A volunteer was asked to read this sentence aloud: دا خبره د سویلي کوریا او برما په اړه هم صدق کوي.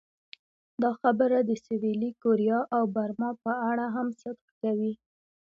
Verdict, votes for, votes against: accepted, 2, 0